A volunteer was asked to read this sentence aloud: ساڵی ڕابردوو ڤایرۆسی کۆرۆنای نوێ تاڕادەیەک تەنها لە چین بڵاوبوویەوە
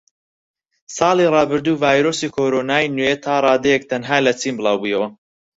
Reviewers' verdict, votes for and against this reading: rejected, 0, 4